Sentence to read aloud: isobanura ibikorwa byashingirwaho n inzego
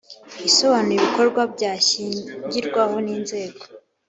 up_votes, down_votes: 5, 0